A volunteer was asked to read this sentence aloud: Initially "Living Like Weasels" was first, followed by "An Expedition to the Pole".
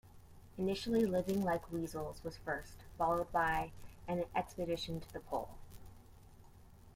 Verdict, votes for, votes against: accepted, 2, 0